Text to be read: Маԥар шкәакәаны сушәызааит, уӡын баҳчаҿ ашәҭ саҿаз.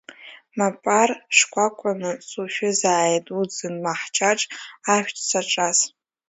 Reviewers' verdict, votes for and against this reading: rejected, 1, 2